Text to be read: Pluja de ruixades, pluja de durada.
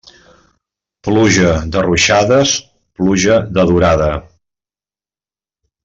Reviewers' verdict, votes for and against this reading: accepted, 3, 0